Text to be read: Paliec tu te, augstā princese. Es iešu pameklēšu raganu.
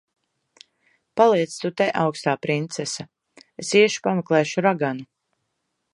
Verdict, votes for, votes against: accepted, 2, 0